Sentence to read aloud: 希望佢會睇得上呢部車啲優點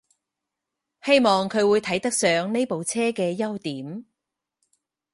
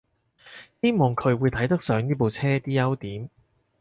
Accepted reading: second